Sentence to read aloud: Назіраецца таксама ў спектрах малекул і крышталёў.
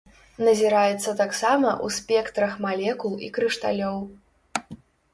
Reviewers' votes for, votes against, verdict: 2, 0, accepted